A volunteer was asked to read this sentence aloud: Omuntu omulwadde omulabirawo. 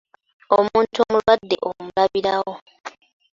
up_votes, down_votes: 2, 0